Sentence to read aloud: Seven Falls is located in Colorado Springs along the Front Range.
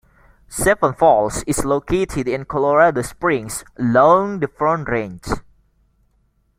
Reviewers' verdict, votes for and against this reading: accepted, 2, 0